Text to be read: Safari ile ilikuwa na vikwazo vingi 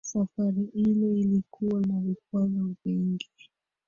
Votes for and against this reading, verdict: 2, 1, accepted